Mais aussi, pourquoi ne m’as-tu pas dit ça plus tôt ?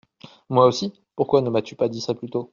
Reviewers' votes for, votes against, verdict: 0, 2, rejected